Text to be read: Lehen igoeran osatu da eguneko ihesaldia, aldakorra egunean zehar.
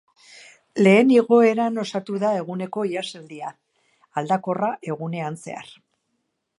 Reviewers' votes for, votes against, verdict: 2, 0, accepted